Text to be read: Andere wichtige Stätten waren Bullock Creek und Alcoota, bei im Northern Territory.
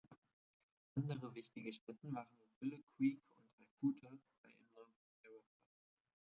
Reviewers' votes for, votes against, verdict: 1, 2, rejected